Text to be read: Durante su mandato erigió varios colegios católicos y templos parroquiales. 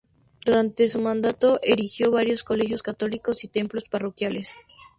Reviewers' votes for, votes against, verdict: 2, 0, accepted